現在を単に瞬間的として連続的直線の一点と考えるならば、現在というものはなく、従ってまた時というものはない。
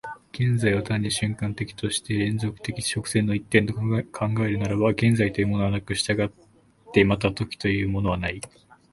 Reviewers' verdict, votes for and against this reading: rejected, 1, 2